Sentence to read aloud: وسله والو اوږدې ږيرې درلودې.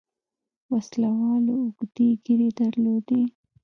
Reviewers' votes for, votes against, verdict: 0, 2, rejected